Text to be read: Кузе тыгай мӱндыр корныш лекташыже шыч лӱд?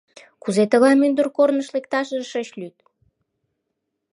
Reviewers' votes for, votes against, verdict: 2, 0, accepted